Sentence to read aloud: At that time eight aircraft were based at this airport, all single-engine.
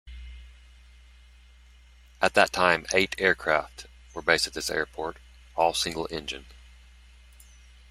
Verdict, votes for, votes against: accepted, 2, 0